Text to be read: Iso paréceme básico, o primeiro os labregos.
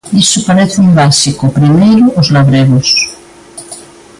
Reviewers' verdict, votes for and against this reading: accepted, 2, 1